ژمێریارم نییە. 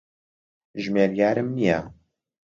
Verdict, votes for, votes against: accepted, 2, 0